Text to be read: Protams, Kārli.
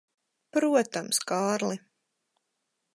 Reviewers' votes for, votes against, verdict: 4, 0, accepted